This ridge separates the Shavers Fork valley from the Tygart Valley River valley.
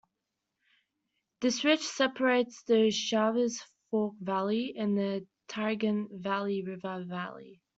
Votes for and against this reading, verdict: 2, 1, accepted